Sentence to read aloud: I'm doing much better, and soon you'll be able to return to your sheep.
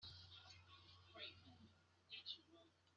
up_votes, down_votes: 0, 3